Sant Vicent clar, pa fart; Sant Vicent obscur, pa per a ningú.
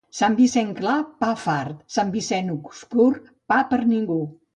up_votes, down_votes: 0, 2